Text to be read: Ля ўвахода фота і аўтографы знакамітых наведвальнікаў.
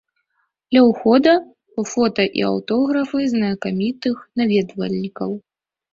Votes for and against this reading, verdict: 0, 2, rejected